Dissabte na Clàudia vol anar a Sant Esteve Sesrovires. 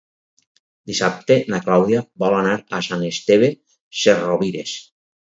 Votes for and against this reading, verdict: 4, 2, accepted